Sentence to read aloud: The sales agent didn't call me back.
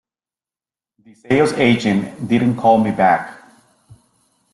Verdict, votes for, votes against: accepted, 2, 0